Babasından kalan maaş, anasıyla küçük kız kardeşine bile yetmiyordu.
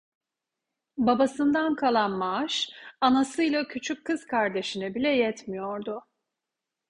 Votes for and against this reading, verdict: 2, 0, accepted